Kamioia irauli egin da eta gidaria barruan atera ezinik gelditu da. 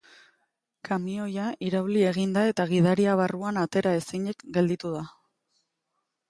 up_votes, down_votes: 2, 0